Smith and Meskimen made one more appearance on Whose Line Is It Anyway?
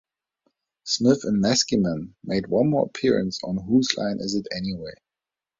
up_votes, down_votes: 2, 0